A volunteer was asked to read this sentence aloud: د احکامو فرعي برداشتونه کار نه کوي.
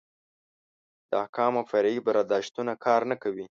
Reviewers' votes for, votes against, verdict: 7, 0, accepted